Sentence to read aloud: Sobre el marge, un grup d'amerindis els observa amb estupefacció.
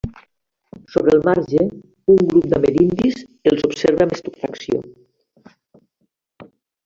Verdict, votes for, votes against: rejected, 1, 2